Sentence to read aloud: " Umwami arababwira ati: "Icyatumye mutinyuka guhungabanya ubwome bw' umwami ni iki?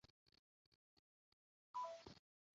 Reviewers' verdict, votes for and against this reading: rejected, 0, 2